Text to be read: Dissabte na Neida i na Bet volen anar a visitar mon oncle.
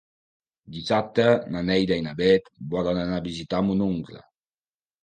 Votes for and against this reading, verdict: 2, 0, accepted